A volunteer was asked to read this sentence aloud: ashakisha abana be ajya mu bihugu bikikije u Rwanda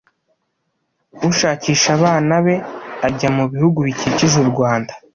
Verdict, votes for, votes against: rejected, 1, 2